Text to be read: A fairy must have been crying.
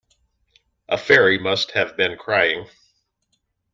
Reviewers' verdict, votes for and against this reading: accepted, 2, 0